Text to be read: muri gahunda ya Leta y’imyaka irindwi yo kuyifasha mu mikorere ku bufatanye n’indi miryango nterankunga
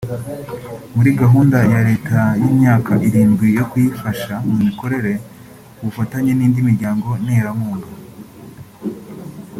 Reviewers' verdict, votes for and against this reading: accepted, 2, 0